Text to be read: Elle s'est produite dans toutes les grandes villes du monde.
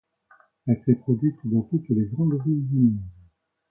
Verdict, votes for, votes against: rejected, 1, 2